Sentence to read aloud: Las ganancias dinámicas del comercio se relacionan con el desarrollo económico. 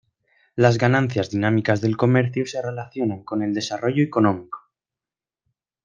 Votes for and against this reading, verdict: 0, 2, rejected